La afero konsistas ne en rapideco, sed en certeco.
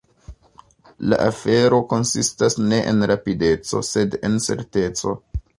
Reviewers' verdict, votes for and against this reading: rejected, 0, 2